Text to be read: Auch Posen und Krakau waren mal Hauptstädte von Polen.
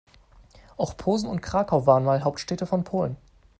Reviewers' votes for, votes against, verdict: 2, 0, accepted